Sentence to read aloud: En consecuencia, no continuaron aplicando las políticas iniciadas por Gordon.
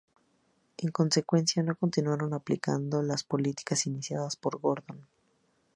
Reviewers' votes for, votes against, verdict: 2, 0, accepted